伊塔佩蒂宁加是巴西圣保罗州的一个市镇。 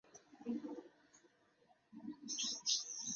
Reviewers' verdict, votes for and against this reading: rejected, 0, 5